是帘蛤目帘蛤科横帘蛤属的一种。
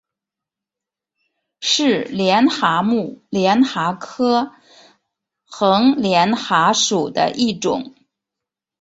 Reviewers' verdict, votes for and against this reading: rejected, 1, 2